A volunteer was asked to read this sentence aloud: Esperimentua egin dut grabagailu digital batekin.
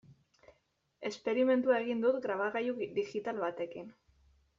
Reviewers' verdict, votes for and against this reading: rejected, 0, 2